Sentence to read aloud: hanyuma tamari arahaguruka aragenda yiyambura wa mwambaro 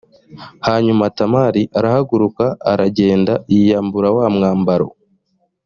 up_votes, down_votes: 2, 0